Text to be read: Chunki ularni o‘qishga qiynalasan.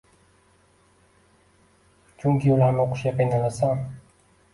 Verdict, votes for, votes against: rejected, 1, 2